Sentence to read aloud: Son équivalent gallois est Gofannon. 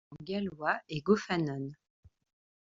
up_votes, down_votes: 0, 2